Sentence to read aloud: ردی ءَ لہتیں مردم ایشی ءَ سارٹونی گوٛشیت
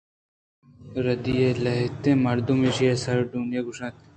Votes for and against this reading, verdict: 0, 2, rejected